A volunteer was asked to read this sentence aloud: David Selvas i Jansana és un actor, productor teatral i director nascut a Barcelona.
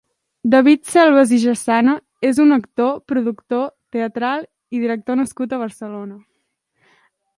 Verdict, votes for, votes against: rejected, 1, 2